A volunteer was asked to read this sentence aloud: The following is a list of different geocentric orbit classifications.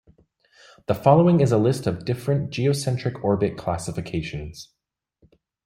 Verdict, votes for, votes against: accepted, 2, 0